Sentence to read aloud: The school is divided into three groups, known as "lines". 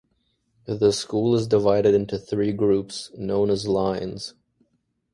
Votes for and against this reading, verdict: 2, 0, accepted